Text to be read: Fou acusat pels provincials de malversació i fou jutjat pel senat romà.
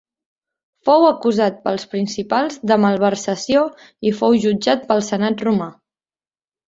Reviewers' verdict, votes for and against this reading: rejected, 1, 2